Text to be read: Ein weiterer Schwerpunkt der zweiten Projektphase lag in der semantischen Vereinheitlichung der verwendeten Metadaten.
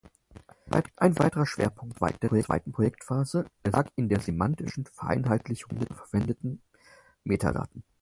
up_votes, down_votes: 0, 4